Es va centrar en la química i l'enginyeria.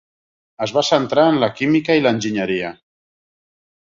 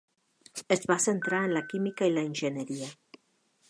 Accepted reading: first